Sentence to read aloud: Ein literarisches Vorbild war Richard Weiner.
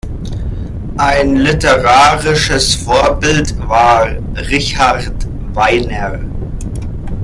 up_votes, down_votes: 0, 2